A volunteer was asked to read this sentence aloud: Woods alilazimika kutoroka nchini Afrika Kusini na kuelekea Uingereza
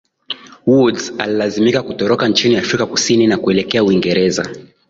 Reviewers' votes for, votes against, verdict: 4, 0, accepted